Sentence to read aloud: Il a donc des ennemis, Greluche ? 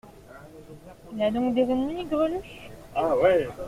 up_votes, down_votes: 1, 2